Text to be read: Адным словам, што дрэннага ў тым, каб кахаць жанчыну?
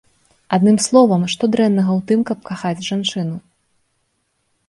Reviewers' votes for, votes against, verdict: 2, 0, accepted